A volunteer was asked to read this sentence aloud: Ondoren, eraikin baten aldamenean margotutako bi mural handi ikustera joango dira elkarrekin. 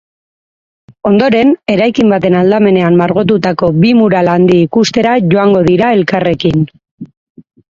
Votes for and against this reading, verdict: 2, 0, accepted